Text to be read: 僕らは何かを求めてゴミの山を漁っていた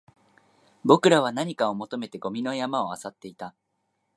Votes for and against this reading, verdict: 3, 0, accepted